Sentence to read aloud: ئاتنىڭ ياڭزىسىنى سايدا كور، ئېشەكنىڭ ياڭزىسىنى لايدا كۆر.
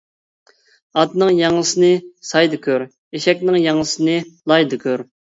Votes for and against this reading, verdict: 2, 0, accepted